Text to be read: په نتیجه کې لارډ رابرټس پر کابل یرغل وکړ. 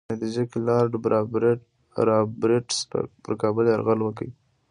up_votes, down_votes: 0, 2